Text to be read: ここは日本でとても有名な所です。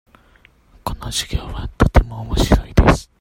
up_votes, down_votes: 0, 2